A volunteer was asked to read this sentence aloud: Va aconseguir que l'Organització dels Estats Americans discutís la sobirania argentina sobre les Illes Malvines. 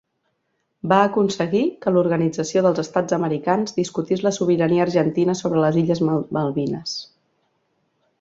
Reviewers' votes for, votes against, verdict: 2, 1, accepted